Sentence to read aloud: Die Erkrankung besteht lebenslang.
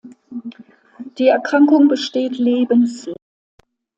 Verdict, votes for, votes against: rejected, 0, 2